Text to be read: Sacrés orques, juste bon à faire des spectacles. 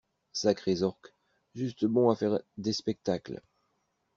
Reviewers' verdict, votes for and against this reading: rejected, 1, 2